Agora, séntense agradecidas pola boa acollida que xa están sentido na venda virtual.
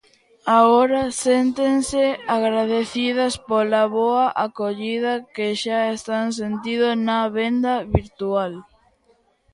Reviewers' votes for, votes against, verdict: 1, 2, rejected